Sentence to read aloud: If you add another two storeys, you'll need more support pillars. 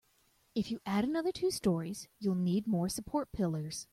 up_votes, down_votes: 2, 0